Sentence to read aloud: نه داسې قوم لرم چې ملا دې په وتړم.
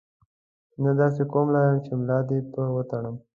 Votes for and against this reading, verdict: 2, 0, accepted